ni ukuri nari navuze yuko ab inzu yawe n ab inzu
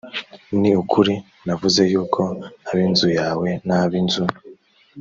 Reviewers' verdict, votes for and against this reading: rejected, 0, 2